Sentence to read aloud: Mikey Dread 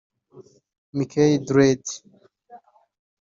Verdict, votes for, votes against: accepted, 2, 1